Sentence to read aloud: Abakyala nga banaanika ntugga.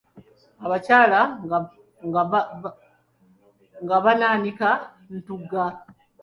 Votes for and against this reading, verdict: 0, 2, rejected